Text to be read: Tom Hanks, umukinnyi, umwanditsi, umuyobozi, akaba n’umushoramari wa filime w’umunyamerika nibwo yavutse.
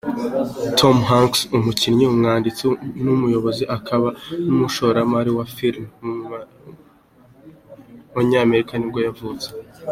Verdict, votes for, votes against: accepted, 2, 0